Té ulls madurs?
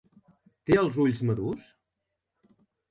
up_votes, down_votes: 1, 2